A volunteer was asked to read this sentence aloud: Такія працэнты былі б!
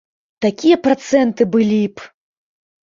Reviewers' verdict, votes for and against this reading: accepted, 2, 0